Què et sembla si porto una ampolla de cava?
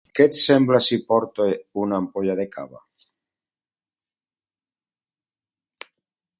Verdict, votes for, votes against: rejected, 2, 2